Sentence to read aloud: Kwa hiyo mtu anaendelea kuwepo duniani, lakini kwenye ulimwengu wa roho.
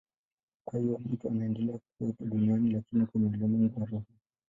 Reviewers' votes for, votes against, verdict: 0, 2, rejected